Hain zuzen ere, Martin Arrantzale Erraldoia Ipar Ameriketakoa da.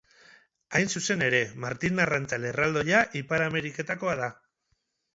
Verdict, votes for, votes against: rejected, 0, 2